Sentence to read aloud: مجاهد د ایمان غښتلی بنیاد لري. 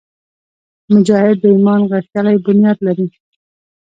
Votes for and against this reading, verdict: 2, 0, accepted